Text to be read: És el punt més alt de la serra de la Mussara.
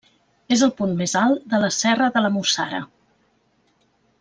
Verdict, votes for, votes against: accepted, 2, 0